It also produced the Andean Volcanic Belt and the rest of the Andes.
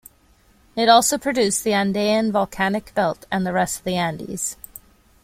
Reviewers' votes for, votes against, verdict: 2, 0, accepted